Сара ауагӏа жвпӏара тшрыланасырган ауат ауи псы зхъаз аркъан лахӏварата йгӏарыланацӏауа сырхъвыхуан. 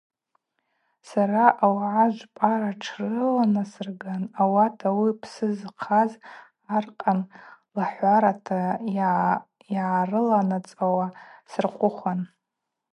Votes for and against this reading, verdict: 2, 0, accepted